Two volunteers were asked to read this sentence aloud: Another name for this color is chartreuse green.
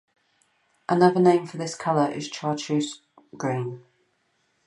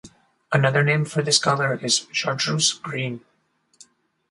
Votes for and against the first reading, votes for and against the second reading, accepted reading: 0, 2, 4, 0, second